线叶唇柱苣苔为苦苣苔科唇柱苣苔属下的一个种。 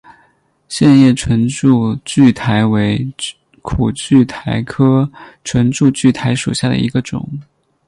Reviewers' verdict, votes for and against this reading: accepted, 16, 0